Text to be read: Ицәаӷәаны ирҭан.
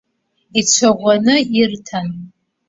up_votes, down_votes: 2, 1